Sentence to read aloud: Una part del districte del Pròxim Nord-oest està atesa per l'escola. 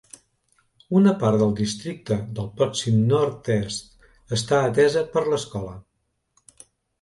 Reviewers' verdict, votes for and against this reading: rejected, 0, 2